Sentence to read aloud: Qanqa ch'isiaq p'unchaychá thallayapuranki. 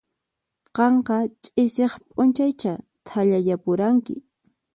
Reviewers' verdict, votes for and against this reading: accepted, 4, 0